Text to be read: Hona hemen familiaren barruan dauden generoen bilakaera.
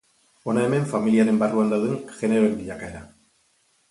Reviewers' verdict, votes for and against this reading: rejected, 0, 2